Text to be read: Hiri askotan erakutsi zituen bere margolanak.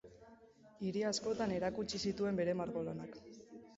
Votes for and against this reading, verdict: 3, 0, accepted